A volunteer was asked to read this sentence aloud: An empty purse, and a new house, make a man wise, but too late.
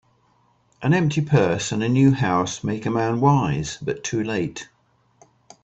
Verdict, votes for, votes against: accepted, 2, 0